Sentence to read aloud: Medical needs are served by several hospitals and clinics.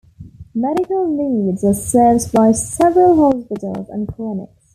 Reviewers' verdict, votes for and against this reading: rejected, 1, 2